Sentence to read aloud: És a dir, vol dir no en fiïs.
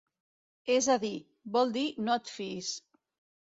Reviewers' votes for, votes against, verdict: 1, 3, rejected